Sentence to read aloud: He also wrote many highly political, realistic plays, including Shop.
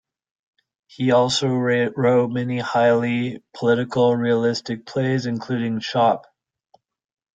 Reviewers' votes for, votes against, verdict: 0, 2, rejected